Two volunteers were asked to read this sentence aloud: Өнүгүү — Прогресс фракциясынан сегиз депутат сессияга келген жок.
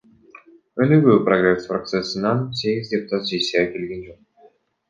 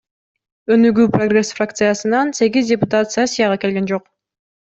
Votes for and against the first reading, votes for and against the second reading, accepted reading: 1, 2, 2, 0, second